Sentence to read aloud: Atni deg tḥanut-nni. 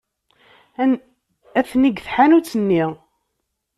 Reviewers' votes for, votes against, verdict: 0, 3, rejected